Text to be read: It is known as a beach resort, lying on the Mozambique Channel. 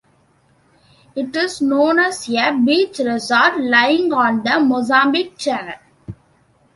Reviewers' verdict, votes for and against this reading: accepted, 2, 0